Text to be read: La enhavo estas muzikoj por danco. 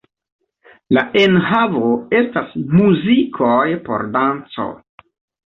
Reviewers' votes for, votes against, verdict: 2, 0, accepted